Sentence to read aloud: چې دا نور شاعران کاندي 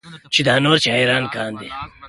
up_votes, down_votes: 2, 0